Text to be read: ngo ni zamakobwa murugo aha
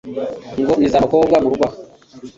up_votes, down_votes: 1, 2